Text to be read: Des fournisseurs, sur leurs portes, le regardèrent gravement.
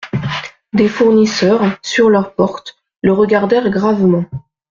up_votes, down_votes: 1, 2